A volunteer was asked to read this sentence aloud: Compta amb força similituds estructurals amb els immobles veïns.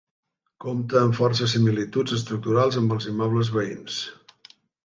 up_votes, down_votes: 4, 0